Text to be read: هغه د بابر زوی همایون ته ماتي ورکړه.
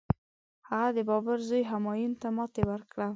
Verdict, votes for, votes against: accepted, 2, 0